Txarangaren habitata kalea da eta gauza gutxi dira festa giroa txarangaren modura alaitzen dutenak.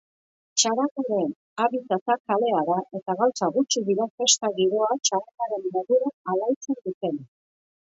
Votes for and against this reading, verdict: 0, 2, rejected